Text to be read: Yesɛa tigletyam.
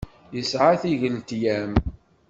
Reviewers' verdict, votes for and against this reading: accepted, 2, 0